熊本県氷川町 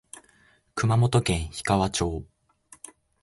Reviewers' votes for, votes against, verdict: 3, 0, accepted